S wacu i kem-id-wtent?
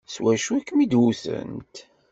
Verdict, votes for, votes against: accepted, 2, 0